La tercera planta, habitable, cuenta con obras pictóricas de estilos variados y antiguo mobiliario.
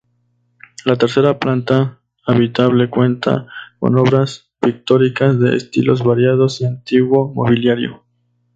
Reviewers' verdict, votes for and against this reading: accepted, 2, 0